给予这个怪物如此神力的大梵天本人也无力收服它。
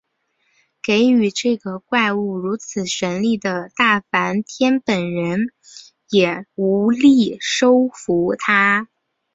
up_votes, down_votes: 2, 0